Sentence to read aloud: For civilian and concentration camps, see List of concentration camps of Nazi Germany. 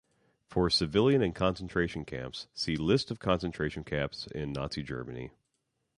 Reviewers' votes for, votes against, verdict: 0, 2, rejected